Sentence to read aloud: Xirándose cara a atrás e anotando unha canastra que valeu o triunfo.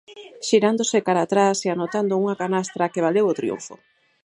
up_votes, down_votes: 2, 2